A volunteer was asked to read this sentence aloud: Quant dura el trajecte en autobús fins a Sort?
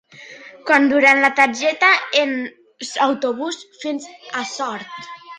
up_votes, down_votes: 0, 2